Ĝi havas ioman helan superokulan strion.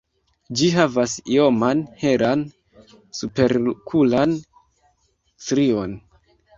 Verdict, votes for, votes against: rejected, 1, 2